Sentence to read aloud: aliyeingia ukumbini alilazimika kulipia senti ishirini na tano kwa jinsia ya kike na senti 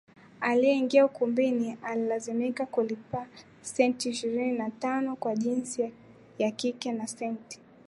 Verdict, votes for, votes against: accepted, 2, 0